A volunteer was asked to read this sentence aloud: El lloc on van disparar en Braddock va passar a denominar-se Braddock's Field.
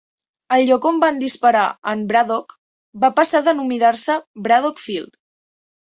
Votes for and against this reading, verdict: 3, 0, accepted